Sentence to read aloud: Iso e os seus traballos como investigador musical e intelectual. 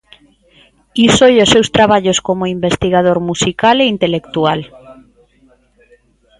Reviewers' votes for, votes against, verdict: 1, 2, rejected